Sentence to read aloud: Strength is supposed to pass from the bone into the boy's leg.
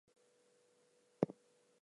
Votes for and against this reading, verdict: 0, 2, rejected